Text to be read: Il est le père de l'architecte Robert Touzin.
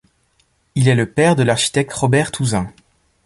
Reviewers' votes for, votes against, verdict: 2, 0, accepted